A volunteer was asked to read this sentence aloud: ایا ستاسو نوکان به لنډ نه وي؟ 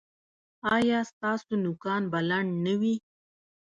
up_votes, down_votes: 2, 1